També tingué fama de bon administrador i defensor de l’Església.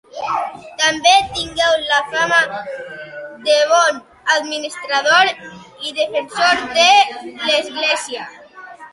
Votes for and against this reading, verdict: 0, 2, rejected